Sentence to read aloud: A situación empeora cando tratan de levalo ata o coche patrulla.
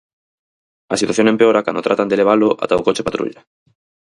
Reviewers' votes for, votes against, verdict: 2, 2, rejected